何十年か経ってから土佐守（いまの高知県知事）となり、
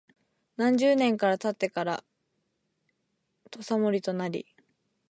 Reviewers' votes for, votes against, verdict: 0, 2, rejected